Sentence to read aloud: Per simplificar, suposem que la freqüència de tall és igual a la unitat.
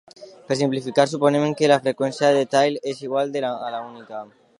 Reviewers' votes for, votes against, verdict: 0, 2, rejected